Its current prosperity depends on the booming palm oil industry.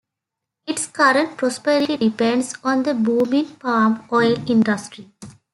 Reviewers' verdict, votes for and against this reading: accepted, 3, 1